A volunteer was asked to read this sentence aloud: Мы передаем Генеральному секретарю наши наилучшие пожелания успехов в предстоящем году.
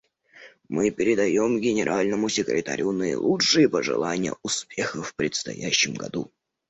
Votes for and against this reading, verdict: 0, 2, rejected